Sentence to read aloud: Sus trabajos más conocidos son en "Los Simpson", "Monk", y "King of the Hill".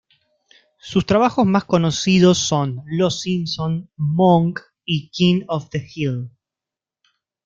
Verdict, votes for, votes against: rejected, 1, 2